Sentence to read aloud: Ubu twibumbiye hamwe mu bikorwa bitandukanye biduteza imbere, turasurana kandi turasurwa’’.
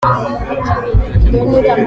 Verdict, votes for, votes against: rejected, 0, 2